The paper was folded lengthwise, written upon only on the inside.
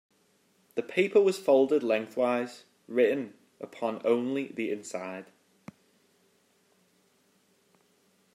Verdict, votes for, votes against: rejected, 1, 2